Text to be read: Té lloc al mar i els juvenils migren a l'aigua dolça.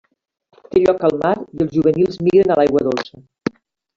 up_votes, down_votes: 0, 3